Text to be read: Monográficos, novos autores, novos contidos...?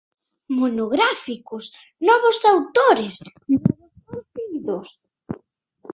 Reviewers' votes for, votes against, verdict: 0, 3, rejected